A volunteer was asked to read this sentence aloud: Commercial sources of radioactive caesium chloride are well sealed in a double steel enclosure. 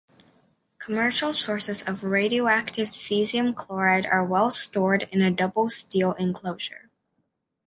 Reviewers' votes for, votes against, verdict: 1, 2, rejected